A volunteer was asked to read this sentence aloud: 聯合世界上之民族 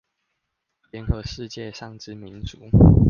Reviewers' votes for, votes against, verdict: 2, 0, accepted